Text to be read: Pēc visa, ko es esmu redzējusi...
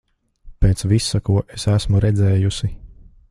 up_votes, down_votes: 2, 0